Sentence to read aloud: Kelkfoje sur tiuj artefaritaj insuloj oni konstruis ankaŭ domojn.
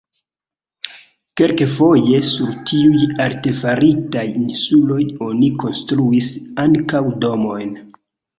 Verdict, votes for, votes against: accepted, 2, 0